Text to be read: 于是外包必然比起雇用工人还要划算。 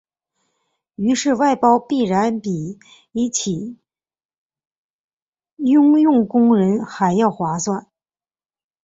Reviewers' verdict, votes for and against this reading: rejected, 2, 3